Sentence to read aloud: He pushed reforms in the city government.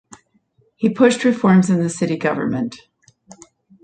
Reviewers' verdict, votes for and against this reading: accepted, 2, 0